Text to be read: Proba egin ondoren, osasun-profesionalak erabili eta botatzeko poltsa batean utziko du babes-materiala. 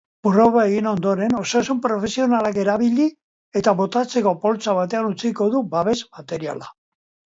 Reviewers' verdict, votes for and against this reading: accepted, 2, 0